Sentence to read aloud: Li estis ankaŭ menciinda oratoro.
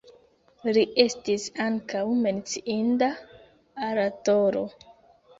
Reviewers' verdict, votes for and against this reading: rejected, 1, 2